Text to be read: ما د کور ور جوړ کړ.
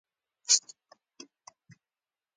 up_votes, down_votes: 0, 2